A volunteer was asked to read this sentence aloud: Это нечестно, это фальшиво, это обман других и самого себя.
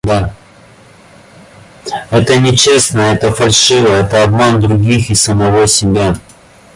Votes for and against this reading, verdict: 1, 2, rejected